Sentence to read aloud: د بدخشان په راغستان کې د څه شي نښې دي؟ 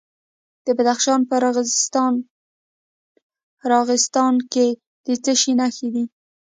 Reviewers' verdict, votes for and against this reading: rejected, 1, 2